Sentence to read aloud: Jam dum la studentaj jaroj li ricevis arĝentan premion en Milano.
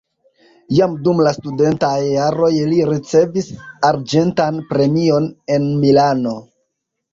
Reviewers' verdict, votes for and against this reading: accepted, 2, 0